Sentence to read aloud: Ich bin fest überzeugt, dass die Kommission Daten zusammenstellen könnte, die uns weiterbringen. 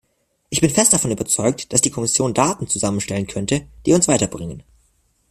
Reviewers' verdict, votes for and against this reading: rejected, 0, 2